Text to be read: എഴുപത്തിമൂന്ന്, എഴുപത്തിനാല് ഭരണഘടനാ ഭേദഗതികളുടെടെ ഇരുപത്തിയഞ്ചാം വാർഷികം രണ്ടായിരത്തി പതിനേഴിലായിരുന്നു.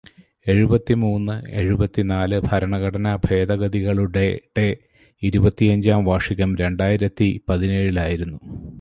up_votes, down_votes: 0, 2